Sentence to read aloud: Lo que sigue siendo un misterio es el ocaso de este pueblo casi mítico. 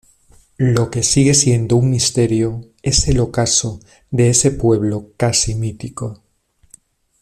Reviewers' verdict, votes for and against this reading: rejected, 1, 2